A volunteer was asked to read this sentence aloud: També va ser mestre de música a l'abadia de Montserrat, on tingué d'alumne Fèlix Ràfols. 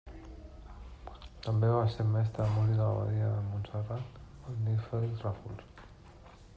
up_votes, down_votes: 0, 2